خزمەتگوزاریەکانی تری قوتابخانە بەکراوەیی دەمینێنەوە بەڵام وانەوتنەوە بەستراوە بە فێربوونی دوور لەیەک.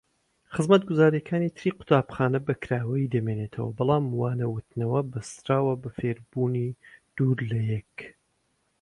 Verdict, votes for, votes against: accepted, 2, 0